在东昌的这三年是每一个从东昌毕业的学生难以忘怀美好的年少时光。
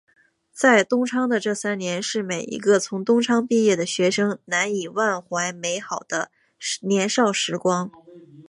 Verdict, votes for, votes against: accepted, 2, 0